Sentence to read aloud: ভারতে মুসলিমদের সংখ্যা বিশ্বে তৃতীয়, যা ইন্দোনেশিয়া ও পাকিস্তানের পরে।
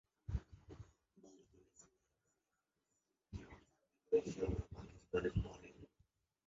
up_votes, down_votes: 0, 2